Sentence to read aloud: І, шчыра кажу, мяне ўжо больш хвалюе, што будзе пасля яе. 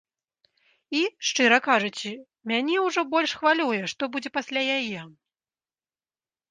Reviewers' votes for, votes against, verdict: 0, 2, rejected